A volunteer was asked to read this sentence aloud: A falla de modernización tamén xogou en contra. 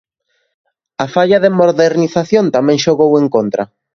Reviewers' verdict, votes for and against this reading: rejected, 0, 2